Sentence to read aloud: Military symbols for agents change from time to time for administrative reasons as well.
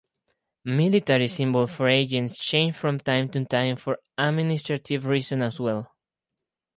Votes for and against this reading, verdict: 6, 0, accepted